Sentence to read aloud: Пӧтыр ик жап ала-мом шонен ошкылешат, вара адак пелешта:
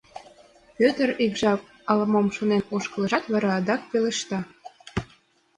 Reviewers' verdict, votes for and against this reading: accepted, 2, 0